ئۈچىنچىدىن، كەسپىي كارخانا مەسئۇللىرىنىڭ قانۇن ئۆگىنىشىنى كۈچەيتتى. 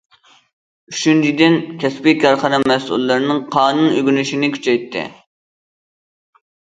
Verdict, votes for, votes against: accepted, 2, 0